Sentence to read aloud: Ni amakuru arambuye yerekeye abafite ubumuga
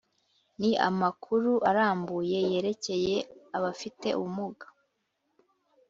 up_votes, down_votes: 2, 0